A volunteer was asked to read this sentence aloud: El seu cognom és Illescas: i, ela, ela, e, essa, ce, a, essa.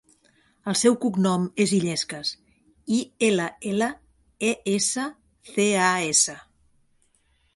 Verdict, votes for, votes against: accepted, 2, 0